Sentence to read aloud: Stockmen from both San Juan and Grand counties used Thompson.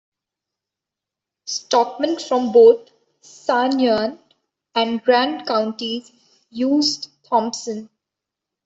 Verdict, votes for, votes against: rejected, 1, 2